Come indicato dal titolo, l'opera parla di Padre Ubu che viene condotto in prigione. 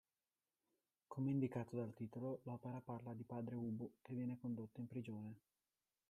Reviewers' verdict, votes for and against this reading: accepted, 2, 0